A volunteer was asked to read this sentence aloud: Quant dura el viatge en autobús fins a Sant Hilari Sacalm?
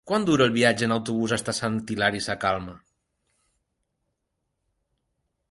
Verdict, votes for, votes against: rejected, 0, 2